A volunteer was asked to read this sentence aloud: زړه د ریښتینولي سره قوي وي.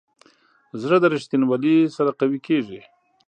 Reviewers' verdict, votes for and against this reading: accepted, 2, 0